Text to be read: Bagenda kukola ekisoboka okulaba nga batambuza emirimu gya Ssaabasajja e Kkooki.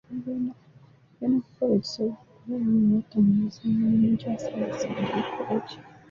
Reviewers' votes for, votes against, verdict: 0, 2, rejected